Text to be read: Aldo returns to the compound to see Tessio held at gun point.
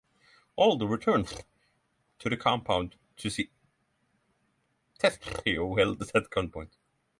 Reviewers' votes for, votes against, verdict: 3, 6, rejected